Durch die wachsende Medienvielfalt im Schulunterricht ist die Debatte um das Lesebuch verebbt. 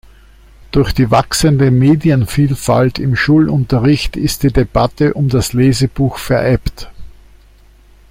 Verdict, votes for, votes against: accepted, 2, 0